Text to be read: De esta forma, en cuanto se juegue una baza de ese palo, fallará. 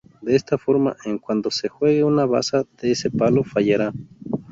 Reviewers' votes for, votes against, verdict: 2, 0, accepted